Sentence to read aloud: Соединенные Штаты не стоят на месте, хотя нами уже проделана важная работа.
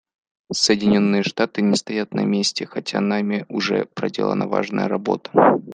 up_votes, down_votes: 2, 0